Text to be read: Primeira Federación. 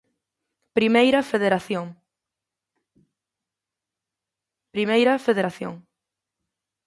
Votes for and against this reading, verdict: 1, 2, rejected